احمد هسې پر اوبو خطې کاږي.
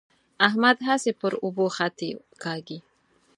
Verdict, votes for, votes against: accepted, 4, 0